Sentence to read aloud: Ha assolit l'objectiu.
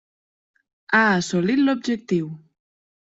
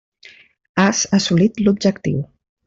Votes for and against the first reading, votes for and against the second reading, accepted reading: 3, 0, 0, 2, first